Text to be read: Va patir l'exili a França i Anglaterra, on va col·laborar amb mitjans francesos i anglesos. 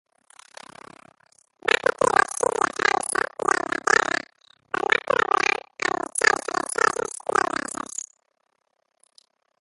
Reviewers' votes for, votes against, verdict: 0, 2, rejected